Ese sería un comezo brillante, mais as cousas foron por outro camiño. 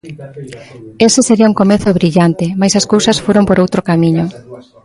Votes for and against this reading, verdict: 2, 0, accepted